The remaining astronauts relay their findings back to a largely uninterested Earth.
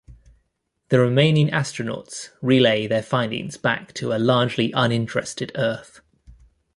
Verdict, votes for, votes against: accepted, 2, 0